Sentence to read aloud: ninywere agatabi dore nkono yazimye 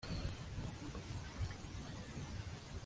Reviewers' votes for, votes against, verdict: 0, 2, rejected